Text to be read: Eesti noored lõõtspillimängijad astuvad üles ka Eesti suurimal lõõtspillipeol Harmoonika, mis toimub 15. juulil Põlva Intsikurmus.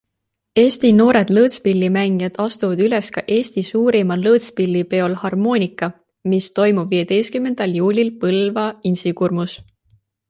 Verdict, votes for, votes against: rejected, 0, 2